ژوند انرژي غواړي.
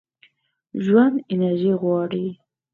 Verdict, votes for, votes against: accepted, 4, 0